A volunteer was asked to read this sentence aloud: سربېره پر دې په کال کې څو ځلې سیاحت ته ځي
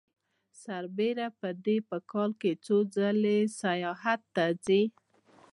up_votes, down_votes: 2, 0